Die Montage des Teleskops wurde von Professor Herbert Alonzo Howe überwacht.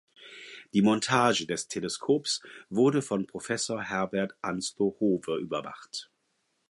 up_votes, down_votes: 0, 4